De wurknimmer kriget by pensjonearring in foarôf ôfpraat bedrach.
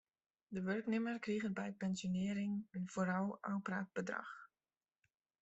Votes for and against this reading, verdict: 1, 2, rejected